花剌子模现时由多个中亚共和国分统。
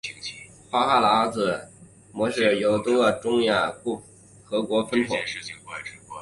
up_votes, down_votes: 0, 2